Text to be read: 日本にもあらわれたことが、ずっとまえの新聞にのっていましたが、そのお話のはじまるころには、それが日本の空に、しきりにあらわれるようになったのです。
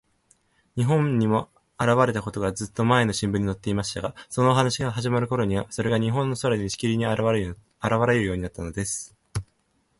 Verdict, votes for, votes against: accepted, 4, 3